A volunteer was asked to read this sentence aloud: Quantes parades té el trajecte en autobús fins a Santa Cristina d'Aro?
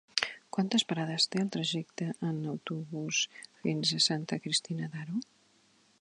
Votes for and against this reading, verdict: 3, 0, accepted